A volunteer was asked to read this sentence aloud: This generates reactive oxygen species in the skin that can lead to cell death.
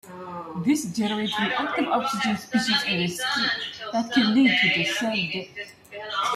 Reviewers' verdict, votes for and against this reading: rejected, 0, 2